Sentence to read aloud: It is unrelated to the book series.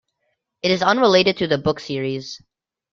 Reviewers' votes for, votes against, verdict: 2, 0, accepted